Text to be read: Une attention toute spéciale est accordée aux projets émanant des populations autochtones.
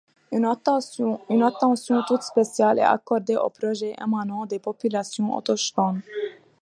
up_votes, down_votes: 1, 2